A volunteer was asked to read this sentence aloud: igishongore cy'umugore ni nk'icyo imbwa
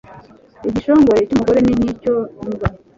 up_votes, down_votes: 2, 0